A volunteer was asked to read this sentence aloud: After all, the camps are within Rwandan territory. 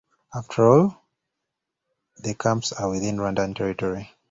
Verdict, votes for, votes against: accepted, 2, 0